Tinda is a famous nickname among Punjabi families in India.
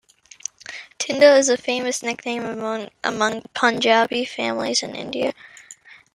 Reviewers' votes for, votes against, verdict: 2, 1, accepted